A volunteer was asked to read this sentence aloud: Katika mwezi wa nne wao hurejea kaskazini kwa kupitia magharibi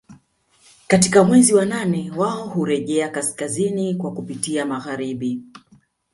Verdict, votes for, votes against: rejected, 1, 2